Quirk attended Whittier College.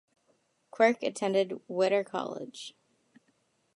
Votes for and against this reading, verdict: 2, 0, accepted